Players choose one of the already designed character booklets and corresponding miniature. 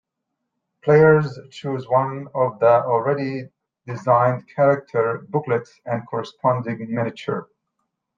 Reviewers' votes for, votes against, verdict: 2, 1, accepted